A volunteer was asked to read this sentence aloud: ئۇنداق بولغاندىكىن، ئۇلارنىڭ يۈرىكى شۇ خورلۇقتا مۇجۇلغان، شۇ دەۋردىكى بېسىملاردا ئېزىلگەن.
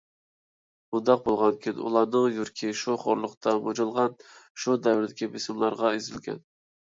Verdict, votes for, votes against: rejected, 1, 2